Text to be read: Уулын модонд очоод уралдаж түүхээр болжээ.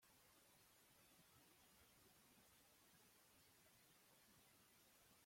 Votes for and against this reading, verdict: 0, 2, rejected